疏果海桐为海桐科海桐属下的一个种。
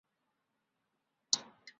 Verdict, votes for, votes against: rejected, 0, 2